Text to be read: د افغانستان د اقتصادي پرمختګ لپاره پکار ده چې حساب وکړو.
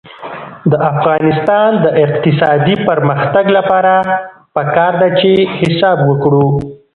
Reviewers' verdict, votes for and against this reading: rejected, 1, 2